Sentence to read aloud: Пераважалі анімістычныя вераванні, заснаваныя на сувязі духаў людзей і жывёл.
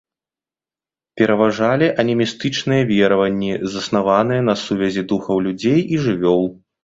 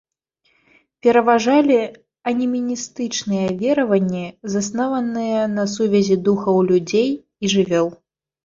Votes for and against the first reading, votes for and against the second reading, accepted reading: 2, 0, 0, 2, first